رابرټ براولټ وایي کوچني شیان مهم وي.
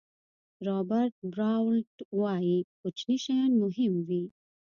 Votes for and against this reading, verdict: 2, 0, accepted